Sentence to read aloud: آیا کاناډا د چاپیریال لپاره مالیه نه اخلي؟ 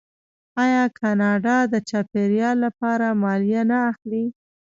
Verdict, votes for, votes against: rejected, 1, 2